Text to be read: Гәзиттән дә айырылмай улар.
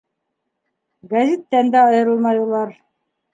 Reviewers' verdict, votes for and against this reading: accepted, 2, 0